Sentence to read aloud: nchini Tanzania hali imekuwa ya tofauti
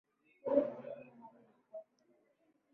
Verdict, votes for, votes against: rejected, 2, 9